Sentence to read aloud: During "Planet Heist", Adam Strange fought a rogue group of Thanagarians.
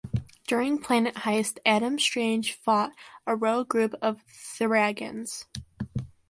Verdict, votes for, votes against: rejected, 0, 2